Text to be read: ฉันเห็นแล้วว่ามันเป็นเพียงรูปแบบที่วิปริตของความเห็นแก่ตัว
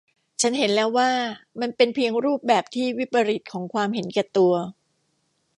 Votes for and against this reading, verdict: 2, 0, accepted